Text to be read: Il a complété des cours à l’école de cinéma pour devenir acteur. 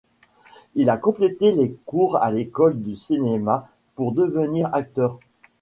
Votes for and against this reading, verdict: 1, 3, rejected